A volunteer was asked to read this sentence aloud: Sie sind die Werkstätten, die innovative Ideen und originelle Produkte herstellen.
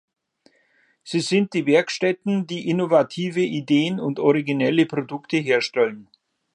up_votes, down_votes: 3, 0